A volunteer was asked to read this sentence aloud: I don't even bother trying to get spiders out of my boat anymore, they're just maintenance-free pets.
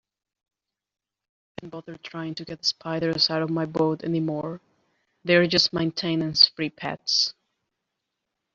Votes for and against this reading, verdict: 0, 2, rejected